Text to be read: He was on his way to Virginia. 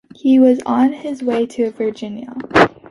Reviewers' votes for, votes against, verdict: 2, 0, accepted